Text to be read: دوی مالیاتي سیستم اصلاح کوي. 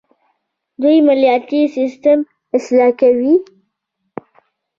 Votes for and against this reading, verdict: 0, 2, rejected